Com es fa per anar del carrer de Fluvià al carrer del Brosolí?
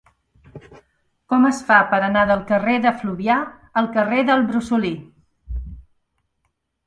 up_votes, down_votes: 2, 0